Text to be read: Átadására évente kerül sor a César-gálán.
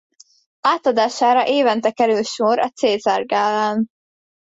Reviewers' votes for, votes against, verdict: 2, 0, accepted